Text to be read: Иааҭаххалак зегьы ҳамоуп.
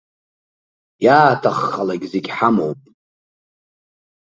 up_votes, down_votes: 2, 0